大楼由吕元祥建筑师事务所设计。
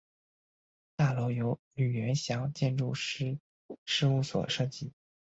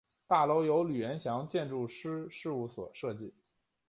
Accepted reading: second